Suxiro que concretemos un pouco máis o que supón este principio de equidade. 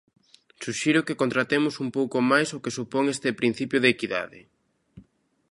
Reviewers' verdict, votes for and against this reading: rejected, 0, 2